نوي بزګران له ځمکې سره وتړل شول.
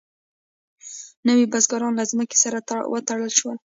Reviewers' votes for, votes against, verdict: 2, 1, accepted